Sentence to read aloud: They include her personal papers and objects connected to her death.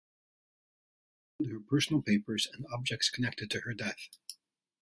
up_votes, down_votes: 0, 2